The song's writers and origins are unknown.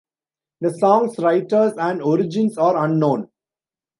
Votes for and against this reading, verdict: 2, 1, accepted